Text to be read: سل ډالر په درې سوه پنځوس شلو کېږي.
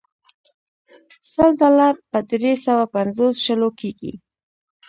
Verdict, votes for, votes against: rejected, 0, 2